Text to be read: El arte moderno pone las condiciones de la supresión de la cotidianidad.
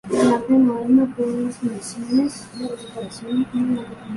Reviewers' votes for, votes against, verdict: 0, 2, rejected